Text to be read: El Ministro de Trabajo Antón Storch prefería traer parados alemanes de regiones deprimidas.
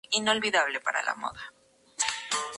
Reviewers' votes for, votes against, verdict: 0, 2, rejected